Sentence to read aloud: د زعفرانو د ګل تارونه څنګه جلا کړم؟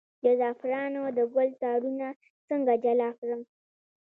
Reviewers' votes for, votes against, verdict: 2, 0, accepted